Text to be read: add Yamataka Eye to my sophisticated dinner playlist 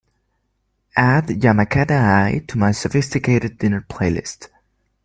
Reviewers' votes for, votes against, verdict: 2, 1, accepted